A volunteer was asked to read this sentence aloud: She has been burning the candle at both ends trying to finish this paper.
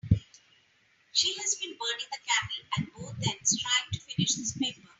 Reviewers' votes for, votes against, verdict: 2, 0, accepted